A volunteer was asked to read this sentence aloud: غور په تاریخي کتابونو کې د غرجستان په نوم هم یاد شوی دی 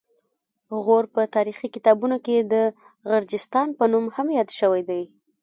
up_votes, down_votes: 1, 2